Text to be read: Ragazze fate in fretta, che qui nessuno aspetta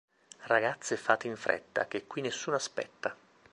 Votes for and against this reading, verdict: 2, 0, accepted